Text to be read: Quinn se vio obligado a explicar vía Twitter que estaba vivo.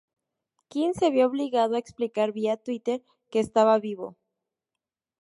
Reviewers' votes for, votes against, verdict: 2, 0, accepted